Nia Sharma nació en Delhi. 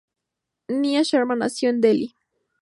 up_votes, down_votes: 2, 0